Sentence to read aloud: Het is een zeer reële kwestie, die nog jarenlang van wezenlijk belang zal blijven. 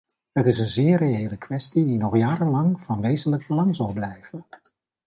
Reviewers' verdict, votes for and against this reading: accepted, 2, 0